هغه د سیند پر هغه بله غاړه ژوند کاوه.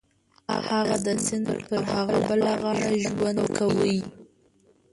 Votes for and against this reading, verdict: 0, 2, rejected